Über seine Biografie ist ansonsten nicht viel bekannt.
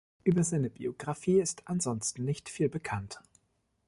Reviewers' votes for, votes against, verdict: 2, 0, accepted